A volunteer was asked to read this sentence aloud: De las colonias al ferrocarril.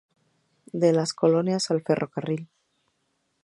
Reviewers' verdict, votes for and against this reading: accepted, 2, 0